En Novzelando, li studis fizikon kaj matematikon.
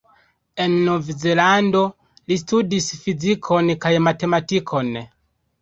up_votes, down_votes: 2, 0